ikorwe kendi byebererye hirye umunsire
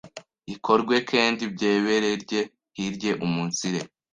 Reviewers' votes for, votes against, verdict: 1, 2, rejected